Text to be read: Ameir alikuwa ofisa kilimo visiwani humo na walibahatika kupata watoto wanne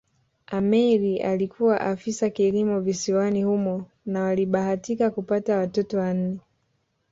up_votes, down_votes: 2, 0